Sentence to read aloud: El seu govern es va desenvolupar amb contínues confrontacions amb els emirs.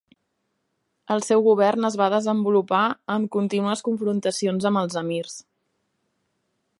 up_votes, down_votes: 2, 0